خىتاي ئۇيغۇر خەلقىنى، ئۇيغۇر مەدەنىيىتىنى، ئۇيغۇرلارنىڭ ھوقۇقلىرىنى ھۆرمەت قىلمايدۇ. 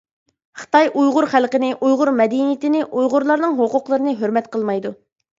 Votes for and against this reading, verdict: 2, 0, accepted